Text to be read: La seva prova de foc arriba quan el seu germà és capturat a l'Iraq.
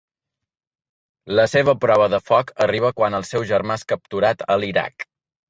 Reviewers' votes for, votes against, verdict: 4, 0, accepted